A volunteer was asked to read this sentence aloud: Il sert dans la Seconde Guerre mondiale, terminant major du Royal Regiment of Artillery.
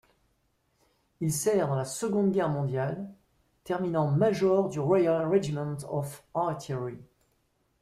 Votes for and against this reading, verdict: 2, 0, accepted